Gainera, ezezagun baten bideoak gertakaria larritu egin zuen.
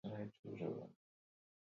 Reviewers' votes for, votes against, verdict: 0, 4, rejected